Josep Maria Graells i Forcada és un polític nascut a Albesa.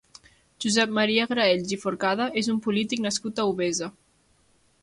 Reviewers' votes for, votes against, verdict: 1, 3, rejected